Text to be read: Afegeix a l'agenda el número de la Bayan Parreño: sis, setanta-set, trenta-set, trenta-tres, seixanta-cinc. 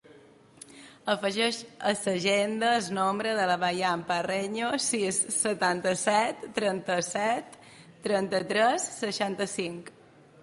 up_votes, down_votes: 1, 2